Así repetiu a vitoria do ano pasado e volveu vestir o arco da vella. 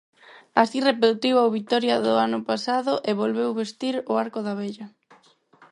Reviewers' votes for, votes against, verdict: 4, 2, accepted